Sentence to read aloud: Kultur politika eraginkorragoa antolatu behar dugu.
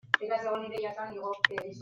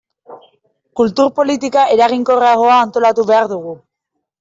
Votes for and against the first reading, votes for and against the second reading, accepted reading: 0, 2, 2, 0, second